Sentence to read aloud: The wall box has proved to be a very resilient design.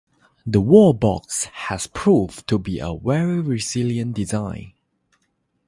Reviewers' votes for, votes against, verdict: 3, 0, accepted